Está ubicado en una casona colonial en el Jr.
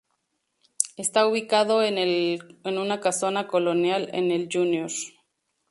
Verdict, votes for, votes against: rejected, 0, 2